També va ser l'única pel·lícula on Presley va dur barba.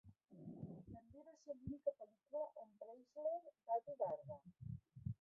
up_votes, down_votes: 0, 2